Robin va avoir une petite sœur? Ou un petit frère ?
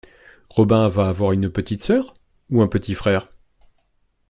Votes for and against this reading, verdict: 2, 0, accepted